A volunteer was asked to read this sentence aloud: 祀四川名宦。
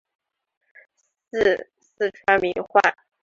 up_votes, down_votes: 1, 2